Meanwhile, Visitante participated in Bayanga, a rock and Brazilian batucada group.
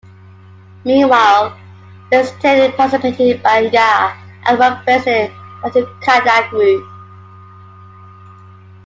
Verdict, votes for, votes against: rejected, 0, 2